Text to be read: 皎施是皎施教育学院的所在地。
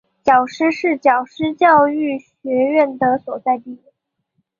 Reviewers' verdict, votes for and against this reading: accepted, 3, 1